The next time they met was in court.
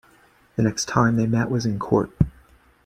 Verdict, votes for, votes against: accepted, 2, 1